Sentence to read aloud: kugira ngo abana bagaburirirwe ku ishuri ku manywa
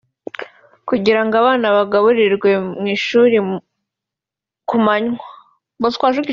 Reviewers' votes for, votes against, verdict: 2, 3, rejected